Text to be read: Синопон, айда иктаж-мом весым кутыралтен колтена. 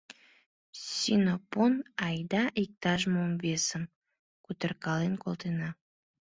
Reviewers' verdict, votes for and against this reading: rejected, 0, 2